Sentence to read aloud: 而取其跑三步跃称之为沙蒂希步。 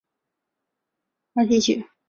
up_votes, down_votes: 2, 1